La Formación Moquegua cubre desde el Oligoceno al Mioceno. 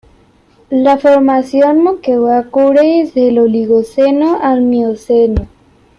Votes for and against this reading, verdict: 0, 2, rejected